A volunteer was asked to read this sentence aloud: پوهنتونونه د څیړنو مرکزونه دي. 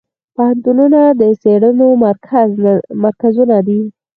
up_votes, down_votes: 0, 4